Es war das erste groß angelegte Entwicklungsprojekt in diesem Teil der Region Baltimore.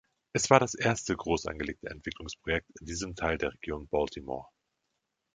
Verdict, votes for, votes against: accepted, 3, 0